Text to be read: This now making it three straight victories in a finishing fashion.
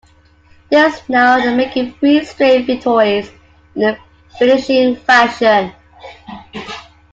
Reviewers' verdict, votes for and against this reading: rejected, 1, 2